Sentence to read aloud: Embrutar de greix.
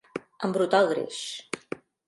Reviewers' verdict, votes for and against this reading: rejected, 0, 2